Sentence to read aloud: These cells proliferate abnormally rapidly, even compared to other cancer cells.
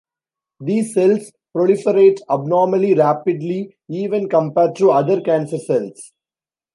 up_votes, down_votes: 2, 0